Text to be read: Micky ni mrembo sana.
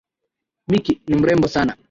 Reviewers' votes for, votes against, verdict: 1, 2, rejected